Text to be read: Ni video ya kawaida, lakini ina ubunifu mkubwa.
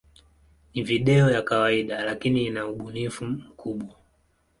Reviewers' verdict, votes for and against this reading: accepted, 15, 1